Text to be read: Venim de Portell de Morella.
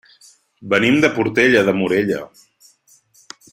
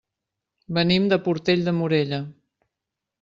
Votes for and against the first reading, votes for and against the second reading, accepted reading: 0, 2, 3, 0, second